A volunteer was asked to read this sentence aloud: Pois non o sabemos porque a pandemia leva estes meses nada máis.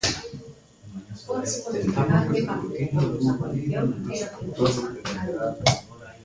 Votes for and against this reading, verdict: 0, 2, rejected